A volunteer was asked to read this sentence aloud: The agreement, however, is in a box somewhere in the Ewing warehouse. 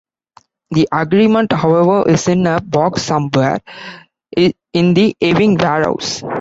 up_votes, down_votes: 0, 2